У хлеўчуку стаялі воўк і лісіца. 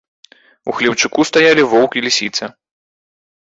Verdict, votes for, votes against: accepted, 2, 0